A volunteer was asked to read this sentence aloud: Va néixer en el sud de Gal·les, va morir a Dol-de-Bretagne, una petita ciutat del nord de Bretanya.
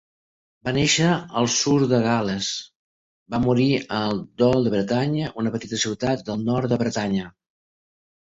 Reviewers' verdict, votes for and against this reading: rejected, 0, 2